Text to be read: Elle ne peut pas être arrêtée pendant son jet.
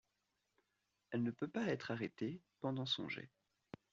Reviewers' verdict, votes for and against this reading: accepted, 2, 0